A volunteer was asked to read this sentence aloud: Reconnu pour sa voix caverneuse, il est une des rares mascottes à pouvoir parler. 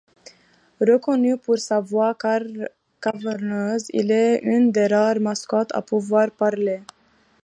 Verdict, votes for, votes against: rejected, 1, 2